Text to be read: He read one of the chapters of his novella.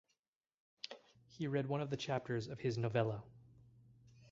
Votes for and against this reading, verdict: 4, 0, accepted